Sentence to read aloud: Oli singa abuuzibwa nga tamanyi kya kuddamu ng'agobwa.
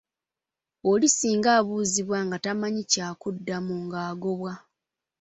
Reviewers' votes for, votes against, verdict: 2, 0, accepted